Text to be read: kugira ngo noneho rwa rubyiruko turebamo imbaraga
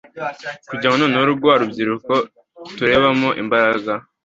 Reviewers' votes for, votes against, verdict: 2, 0, accepted